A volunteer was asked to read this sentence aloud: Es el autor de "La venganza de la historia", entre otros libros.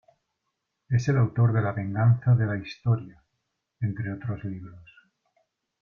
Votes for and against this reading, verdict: 2, 0, accepted